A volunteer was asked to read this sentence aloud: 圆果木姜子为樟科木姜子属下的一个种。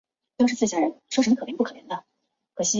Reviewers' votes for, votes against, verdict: 0, 2, rejected